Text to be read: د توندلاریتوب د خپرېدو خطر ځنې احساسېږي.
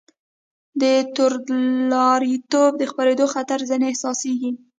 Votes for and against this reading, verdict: 2, 0, accepted